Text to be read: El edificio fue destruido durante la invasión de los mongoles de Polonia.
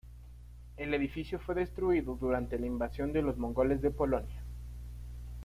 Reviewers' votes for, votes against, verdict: 0, 2, rejected